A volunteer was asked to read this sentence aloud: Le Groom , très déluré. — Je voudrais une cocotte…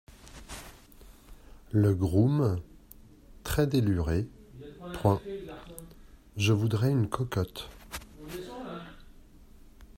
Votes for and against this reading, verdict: 1, 2, rejected